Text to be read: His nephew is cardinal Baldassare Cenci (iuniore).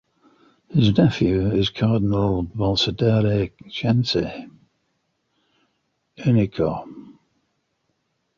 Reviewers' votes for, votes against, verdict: 1, 2, rejected